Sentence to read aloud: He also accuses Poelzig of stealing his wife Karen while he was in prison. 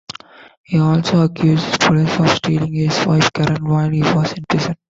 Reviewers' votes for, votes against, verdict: 1, 2, rejected